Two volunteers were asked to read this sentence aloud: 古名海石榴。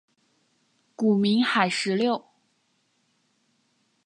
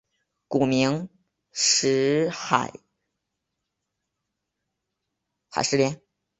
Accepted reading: first